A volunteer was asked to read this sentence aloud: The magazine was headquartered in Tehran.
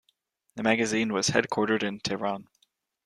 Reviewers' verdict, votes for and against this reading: accepted, 2, 0